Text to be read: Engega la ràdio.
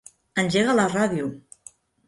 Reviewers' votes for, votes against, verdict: 3, 0, accepted